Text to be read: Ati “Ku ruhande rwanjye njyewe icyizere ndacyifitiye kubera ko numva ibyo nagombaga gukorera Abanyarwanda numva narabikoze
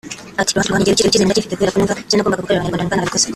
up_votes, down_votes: 0, 2